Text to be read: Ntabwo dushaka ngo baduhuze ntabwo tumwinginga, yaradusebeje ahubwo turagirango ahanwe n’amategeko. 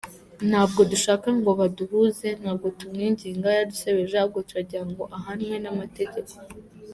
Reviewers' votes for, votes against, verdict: 2, 1, accepted